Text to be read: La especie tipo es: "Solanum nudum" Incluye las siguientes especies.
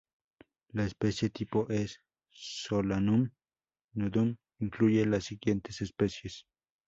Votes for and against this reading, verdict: 2, 2, rejected